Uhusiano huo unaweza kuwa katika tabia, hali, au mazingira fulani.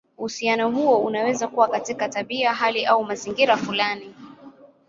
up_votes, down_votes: 2, 0